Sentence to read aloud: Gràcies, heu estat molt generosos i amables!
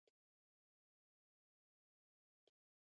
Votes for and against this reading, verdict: 1, 4, rejected